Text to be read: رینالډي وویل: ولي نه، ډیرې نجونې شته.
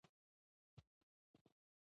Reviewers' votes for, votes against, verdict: 0, 2, rejected